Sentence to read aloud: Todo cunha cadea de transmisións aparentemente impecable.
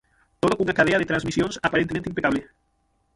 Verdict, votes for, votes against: rejected, 0, 6